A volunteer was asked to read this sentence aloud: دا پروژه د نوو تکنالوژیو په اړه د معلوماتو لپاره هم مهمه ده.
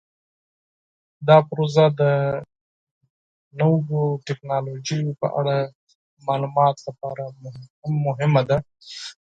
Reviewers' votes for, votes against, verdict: 2, 4, rejected